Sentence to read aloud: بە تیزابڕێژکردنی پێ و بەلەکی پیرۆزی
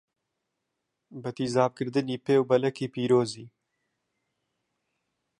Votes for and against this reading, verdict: 0, 2, rejected